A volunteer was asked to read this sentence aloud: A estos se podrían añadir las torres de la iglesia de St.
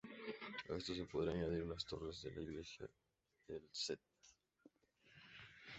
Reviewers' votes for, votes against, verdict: 0, 2, rejected